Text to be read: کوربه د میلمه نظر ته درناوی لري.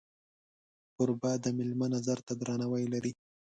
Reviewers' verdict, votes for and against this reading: accepted, 2, 0